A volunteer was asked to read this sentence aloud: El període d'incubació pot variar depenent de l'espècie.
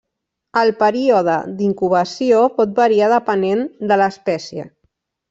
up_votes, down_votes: 0, 2